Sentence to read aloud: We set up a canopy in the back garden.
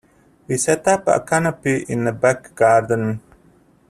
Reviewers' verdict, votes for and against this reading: accepted, 2, 0